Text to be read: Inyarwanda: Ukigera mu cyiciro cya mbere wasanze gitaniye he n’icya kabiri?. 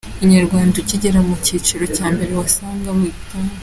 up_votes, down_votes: 0, 2